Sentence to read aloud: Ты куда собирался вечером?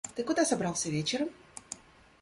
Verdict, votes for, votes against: rejected, 0, 2